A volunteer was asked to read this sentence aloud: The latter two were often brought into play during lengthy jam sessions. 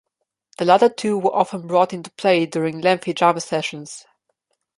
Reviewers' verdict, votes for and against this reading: rejected, 1, 2